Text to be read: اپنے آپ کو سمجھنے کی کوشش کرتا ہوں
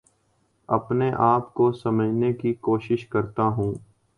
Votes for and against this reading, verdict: 4, 0, accepted